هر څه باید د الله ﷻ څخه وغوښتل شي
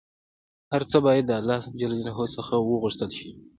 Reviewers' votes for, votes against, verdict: 2, 0, accepted